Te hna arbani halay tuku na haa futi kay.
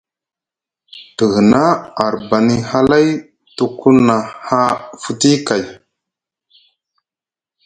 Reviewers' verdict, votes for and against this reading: accepted, 2, 0